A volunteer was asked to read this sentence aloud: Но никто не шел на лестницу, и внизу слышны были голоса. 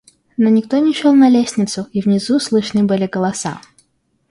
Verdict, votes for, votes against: accepted, 2, 0